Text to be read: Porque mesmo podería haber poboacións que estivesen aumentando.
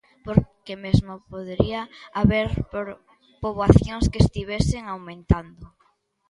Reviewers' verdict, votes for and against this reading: rejected, 0, 2